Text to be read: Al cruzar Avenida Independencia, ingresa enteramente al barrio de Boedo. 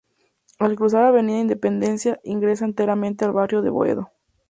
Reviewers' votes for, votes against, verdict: 2, 0, accepted